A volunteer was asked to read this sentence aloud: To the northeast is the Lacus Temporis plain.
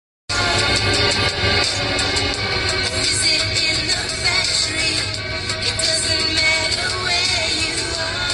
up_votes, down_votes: 0, 2